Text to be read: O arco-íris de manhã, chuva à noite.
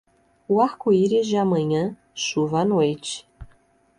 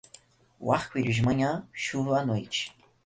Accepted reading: second